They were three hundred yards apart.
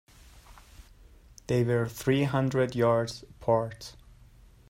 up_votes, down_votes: 2, 0